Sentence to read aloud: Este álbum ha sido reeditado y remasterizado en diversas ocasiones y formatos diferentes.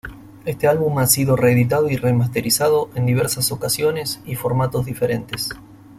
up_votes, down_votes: 2, 0